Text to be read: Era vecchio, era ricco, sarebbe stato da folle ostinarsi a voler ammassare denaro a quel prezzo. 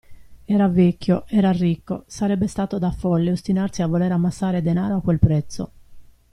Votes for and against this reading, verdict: 2, 0, accepted